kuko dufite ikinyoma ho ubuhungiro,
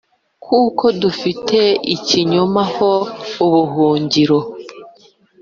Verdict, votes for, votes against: accepted, 2, 0